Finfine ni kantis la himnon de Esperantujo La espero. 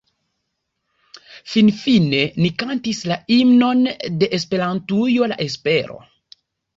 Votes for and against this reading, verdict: 1, 2, rejected